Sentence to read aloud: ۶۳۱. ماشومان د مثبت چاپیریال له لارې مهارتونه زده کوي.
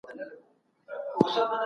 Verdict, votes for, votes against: rejected, 0, 2